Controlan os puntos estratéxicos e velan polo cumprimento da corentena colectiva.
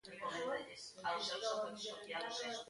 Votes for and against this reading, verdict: 0, 2, rejected